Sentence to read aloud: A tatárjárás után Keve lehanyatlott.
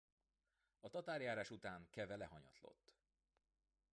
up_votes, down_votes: 0, 2